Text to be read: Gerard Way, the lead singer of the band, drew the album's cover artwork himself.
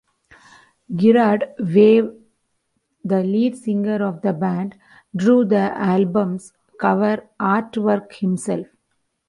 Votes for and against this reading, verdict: 2, 0, accepted